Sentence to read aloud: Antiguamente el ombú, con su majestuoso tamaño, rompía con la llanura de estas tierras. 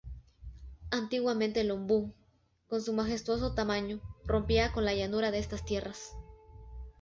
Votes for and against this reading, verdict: 2, 0, accepted